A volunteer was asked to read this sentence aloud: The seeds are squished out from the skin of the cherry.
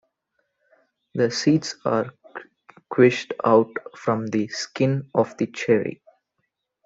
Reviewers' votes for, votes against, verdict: 1, 2, rejected